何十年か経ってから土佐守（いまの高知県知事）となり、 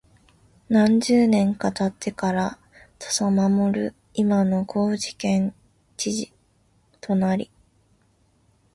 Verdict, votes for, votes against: accepted, 2, 0